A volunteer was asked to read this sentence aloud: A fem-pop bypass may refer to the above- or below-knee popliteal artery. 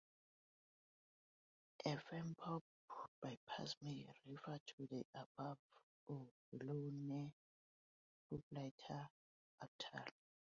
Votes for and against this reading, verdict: 0, 3, rejected